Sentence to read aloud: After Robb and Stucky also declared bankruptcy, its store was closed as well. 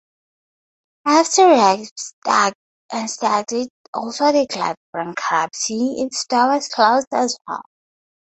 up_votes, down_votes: 0, 2